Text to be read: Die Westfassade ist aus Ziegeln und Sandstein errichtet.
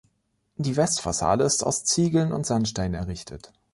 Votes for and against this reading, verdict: 2, 0, accepted